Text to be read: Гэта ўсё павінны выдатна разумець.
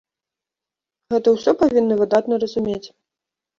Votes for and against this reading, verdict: 1, 2, rejected